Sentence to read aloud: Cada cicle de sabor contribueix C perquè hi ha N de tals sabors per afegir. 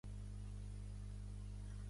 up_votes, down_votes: 0, 2